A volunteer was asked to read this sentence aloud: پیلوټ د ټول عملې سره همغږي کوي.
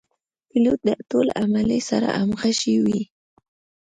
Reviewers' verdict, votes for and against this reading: rejected, 0, 2